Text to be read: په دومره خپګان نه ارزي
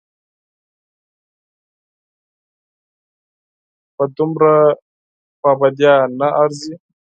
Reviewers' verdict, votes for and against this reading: rejected, 2, 4